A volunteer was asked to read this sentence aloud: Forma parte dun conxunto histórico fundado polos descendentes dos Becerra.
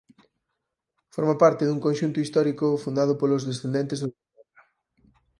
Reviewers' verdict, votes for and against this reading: rejected, 0, 4